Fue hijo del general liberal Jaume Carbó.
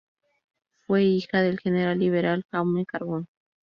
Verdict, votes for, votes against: rejected, 2, 2